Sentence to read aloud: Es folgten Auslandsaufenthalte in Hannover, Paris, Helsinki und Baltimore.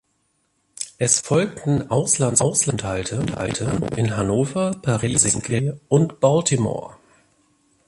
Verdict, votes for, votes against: rejected, 0, 2